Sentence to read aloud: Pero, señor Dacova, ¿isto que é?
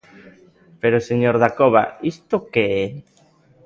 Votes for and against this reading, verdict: 2, 0, accepted